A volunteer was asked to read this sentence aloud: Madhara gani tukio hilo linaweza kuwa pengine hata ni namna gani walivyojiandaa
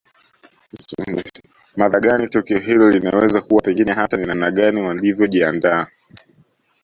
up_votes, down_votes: 1, 2